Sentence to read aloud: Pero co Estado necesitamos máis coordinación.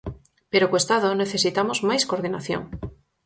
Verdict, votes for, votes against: accepted, 4, 0